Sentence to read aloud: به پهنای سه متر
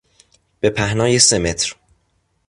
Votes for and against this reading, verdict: 2, 0, accepted